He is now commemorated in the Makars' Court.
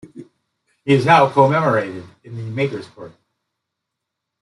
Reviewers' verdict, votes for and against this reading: rejected, 1, 2